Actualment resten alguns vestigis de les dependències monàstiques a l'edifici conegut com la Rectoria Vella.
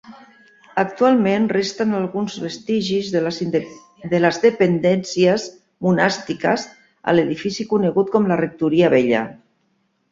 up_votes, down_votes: 0, 3